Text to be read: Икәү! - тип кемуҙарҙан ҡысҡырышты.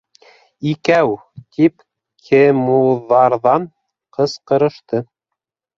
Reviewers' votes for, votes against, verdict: 1, 2, rejected